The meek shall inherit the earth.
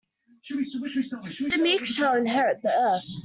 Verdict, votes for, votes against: rejected, 1, 2